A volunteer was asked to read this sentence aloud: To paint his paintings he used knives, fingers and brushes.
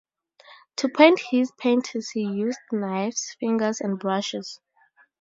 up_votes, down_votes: 2, 0